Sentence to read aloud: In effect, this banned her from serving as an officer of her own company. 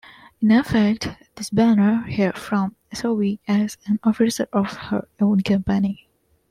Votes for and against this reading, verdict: 0, 2, rejected